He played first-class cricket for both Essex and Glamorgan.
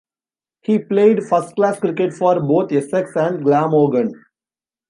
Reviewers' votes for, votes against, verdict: 1, 3, rejected